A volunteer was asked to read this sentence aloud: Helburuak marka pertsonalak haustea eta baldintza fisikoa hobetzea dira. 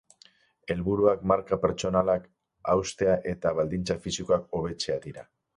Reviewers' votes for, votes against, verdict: 6, 0, accepted